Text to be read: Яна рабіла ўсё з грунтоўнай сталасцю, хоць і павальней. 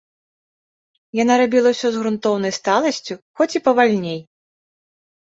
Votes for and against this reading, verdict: 2, 0, accepted